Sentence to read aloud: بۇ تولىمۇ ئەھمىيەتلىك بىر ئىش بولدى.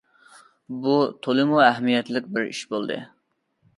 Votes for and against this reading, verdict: 2, 0, accepted